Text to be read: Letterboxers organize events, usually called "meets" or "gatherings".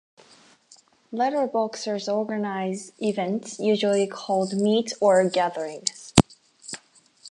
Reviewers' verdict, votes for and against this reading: accepted, 4, 0